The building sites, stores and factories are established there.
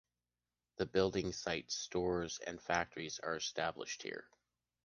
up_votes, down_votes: 2, 1